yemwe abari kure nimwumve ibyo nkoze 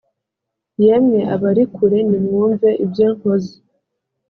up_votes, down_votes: 2, 0